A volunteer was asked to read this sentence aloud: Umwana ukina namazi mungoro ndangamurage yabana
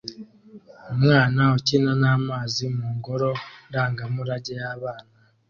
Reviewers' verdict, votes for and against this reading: accepted, 2, 0